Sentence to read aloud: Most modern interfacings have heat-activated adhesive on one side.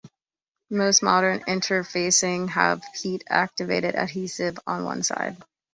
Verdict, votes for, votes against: rejected, 0, 2